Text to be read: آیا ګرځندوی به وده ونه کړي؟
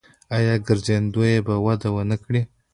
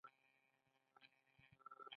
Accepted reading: first